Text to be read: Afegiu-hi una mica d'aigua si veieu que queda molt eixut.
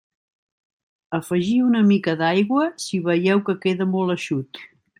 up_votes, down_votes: 0, 2